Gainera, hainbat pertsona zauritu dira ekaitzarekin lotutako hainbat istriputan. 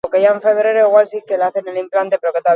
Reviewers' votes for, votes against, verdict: 0, 4, rejected